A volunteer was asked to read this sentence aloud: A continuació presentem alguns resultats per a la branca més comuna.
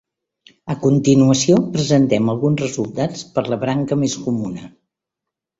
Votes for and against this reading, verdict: 0, 2, rejected